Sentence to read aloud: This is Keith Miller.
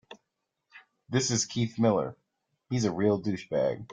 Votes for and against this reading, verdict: 0, 3, rejected